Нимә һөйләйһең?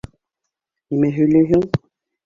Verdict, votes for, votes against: accepted, 3, 0